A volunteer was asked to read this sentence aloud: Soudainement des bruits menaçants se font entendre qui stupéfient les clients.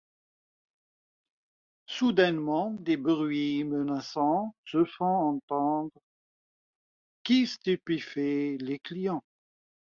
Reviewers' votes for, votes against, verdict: 1, 2, rejected